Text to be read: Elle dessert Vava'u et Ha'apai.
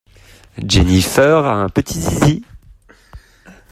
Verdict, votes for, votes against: rejected, 0, 2